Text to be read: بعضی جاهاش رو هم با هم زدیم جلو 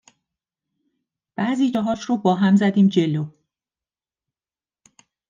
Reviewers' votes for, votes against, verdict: 2, 1, accepted